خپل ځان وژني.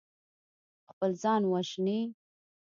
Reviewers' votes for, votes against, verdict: 2, 0, accepted